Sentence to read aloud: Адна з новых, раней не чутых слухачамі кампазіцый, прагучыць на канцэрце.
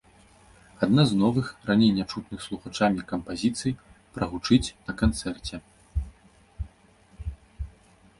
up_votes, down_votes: 1, 2